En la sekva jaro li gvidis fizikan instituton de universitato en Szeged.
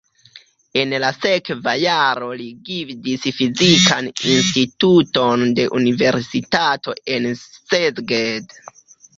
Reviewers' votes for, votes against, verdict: 0, 2, rejected